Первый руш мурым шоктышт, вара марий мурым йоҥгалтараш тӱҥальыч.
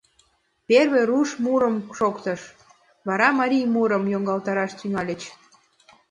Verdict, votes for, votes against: rejected, 1, 2